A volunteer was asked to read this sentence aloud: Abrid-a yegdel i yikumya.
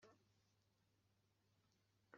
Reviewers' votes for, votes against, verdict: 1, 2, rejected